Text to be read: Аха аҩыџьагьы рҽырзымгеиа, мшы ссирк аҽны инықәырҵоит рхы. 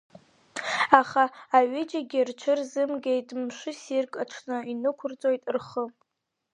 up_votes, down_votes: 0, 2